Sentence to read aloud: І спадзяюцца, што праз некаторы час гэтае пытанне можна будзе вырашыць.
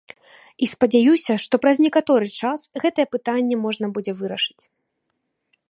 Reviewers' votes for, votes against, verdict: 0, 2, rejected